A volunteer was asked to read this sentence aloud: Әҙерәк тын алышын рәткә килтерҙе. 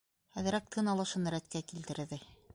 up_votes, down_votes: 1, 2